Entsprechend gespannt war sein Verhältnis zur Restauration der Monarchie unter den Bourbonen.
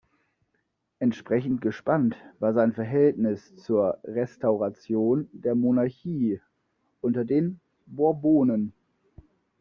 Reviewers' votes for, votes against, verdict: 2, 0, accepted